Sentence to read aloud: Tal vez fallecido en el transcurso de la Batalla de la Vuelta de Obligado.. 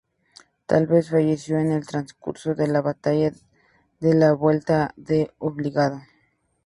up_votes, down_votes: 0, 2